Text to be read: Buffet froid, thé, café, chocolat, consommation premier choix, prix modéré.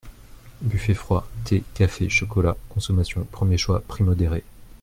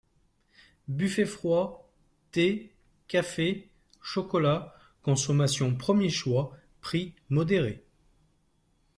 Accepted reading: second